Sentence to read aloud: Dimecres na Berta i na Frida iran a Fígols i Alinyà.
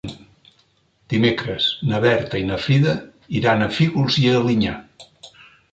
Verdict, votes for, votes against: accepted, 3, 0